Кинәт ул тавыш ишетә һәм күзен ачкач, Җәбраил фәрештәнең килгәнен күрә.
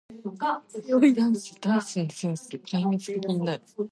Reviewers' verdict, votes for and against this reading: rejected, 0, 2